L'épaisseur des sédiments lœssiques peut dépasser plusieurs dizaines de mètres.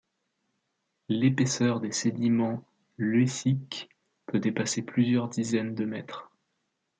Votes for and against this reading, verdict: 2, 0, accepted